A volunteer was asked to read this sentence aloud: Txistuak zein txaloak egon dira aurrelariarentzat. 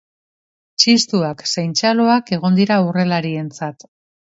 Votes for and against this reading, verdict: 0, 2, rejected